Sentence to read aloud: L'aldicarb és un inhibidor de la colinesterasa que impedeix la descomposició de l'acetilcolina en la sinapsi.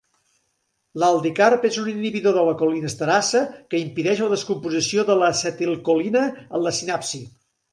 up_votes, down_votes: 1, 2